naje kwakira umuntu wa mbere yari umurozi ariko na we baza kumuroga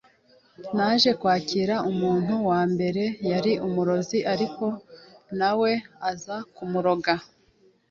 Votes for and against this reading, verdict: 2, 0, accepted